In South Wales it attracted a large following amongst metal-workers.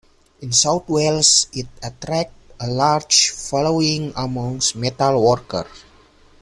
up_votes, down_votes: 0, 2